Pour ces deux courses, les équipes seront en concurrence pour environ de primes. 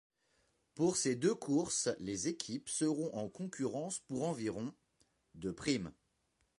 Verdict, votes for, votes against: accepted, 2, 0